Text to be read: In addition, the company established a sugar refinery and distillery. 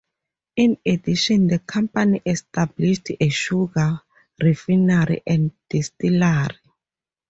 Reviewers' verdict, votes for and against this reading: rejected, 2, 4